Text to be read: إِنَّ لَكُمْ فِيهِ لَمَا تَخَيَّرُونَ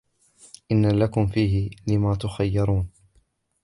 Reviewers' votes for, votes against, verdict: 1, 2, rejected